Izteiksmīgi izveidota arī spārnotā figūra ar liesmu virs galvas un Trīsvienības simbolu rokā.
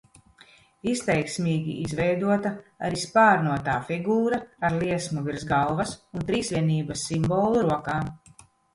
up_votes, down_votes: 2, 0